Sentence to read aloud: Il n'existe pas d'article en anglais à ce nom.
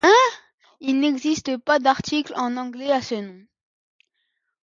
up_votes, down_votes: 0, 2